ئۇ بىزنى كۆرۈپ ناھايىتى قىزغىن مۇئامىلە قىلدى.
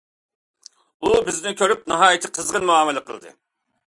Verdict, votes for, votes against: accepted, 2, 0